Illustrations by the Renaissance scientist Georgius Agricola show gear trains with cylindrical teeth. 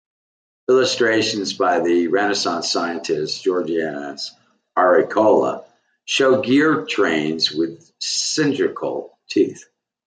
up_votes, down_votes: 0, 2